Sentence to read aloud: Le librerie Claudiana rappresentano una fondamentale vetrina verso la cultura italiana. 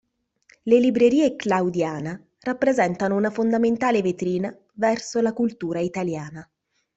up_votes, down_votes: 2, 0